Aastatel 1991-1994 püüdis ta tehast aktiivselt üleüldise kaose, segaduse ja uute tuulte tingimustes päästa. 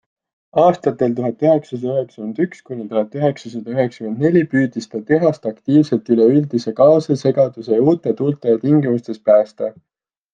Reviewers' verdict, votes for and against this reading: rejected, 0, 2